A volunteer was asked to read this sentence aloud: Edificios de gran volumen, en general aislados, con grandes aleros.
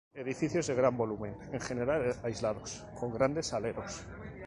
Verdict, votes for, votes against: accepted, 2, 0